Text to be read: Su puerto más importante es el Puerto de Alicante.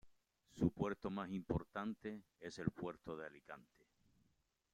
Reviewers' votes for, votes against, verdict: 1, 3, rejected